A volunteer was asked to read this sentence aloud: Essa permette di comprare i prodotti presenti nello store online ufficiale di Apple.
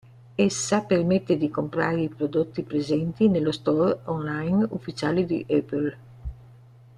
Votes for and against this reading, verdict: 1, 2, rejected